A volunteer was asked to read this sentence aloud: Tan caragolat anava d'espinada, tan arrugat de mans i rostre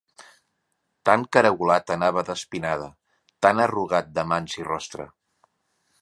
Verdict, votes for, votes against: accepted, 2, 0